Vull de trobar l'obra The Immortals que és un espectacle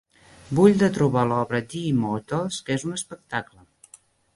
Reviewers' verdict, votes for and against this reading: rejected, 1, 2